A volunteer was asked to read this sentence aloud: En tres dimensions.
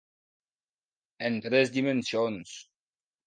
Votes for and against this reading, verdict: 2, 0, accepted